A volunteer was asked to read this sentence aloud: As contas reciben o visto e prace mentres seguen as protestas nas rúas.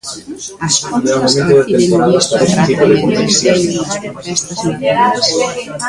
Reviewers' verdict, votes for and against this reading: rejected, 0, 2